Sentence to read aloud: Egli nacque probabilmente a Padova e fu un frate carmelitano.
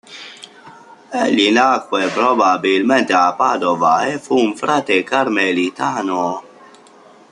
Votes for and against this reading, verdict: 1, 2, rejected